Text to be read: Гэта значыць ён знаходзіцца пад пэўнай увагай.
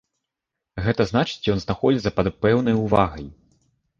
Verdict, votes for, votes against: accepted, 2, 0